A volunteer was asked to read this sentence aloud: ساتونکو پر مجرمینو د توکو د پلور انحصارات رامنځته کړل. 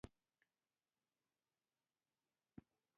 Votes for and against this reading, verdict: 1, 2, rejected